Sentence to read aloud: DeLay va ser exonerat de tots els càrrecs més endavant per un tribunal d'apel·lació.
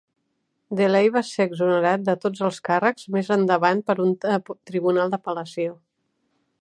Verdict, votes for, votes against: rejected, 0, 2